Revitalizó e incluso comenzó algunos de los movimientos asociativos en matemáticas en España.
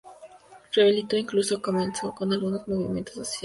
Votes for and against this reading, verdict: 2, 0, accepted